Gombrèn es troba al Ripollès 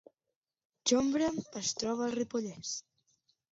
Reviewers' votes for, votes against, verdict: 0, 2, rejected